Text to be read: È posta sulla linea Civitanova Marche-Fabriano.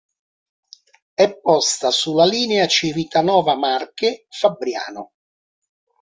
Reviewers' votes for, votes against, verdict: 2, 0, accepted